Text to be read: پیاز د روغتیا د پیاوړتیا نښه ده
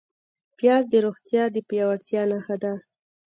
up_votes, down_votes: 2, 0